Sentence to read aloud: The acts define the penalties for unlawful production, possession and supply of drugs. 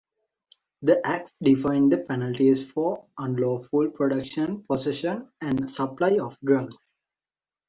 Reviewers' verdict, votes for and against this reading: rejected, 0, 2